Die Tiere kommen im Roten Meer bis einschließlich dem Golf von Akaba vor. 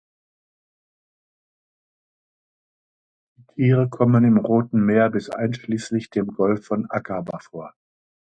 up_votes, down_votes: 0, 2